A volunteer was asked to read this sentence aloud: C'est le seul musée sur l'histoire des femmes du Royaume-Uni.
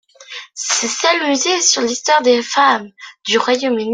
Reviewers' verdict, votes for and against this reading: accepted, 2, 0